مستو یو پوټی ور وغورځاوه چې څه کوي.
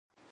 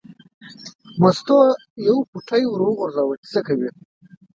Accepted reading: second